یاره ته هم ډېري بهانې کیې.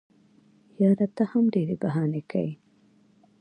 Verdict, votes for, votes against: rejected, 1, 2